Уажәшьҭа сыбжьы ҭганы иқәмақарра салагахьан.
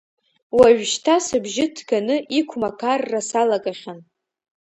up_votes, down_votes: 1, 2